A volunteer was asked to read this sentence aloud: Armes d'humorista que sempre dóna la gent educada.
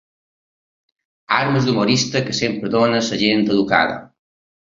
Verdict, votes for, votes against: accepted, 2, 0